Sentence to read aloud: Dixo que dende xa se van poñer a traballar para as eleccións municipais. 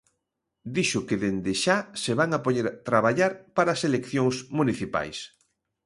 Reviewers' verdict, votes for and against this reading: rejected, 0, 2